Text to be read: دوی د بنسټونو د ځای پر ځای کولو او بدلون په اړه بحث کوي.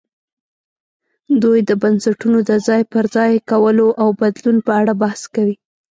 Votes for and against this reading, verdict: 2, 0, accepted